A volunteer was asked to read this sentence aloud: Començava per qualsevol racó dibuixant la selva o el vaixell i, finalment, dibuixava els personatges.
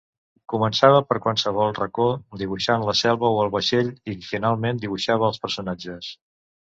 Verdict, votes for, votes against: rejected, 1, 2